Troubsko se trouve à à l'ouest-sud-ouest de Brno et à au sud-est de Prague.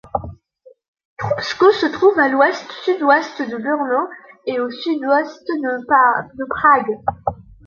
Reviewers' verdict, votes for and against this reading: rejected, 0, 2